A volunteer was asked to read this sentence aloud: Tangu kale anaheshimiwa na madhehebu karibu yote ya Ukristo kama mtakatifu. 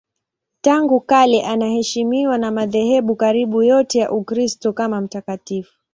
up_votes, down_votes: 2, 0